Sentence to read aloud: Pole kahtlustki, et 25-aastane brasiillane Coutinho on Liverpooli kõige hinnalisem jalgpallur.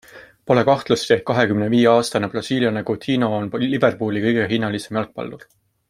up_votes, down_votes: 0, 2